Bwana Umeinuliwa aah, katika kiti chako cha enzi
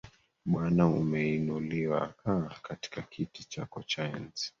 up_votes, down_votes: 2, 1